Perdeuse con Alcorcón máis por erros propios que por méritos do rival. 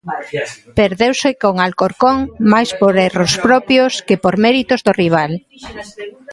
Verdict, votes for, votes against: rejected, 0, 2